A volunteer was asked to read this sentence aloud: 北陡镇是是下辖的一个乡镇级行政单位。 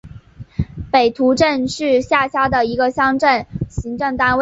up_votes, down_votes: 3, 1